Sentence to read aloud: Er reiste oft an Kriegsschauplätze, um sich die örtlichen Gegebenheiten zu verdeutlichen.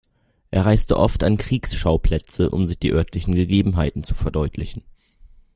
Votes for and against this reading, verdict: 2, 0, accepted